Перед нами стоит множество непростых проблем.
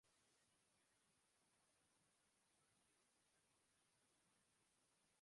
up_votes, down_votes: 0, 2